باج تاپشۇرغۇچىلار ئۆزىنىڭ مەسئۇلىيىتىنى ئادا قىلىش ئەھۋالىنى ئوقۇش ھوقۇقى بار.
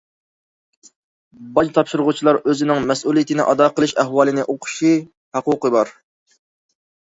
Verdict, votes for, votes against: rejected, 0, 2